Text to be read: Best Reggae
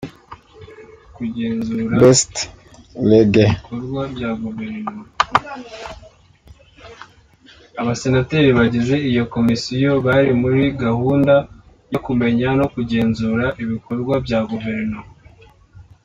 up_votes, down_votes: 0, 2